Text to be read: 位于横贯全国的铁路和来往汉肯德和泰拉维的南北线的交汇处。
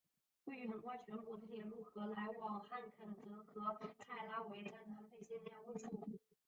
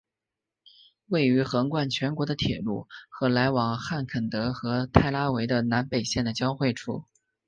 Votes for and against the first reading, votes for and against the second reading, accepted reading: 0, 2, 2, 1, second